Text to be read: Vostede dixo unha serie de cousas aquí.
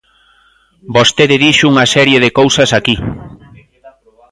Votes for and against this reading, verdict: 2, 0, accepted